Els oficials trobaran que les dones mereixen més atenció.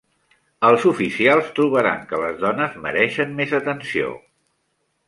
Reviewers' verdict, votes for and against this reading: accepted, 3, 1